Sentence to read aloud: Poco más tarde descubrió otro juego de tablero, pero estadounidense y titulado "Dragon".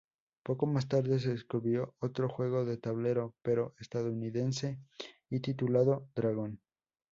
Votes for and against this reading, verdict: 0, 2, rejected